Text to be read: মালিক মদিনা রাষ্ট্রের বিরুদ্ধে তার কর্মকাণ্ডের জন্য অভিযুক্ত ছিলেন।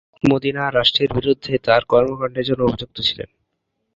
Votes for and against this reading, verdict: 1, 5, rejected